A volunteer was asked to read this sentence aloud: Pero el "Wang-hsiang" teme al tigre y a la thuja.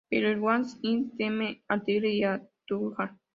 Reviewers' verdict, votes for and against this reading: rejected, 0, 2